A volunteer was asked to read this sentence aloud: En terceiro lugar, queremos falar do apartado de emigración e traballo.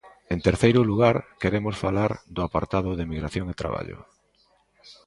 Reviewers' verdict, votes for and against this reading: accepted, 2, 0